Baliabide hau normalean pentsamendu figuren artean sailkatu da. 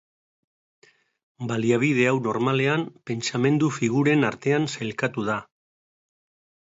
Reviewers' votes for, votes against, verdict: 3, 0, accepted